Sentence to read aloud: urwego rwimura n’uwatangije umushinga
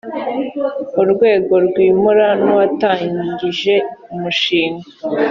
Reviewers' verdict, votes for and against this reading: accepted, 2, 0